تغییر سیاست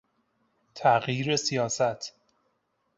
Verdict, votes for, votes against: accepted, 2, 0